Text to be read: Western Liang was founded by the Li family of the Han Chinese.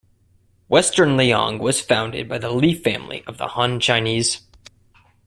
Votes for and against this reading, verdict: 2, 0, accepted